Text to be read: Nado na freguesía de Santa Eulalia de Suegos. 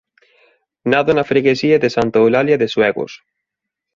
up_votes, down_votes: 2, 0